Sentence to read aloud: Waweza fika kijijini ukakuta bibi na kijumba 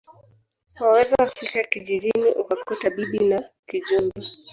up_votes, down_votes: 0, 2